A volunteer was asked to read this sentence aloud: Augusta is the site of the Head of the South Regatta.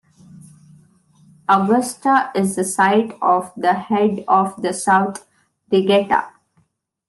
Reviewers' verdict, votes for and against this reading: rejected, 1, 2